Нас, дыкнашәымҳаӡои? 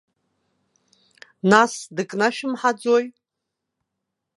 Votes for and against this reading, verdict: 2, 0, accepted